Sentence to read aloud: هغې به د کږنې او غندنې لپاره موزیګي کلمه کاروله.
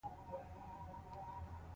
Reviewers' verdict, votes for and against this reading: accepted, 2, 0